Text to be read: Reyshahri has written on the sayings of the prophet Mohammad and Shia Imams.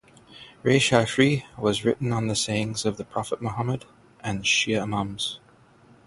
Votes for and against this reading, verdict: 6, 0, accepted